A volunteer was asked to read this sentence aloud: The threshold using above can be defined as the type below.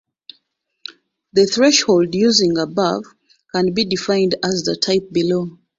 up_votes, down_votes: 1, 2